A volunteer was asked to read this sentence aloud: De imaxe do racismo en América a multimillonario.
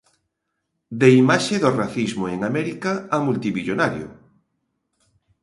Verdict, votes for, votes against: accepted, 2, 0